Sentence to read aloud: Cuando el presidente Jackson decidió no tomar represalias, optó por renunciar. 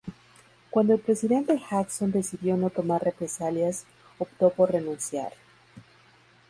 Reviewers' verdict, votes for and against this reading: accepted, 2, 0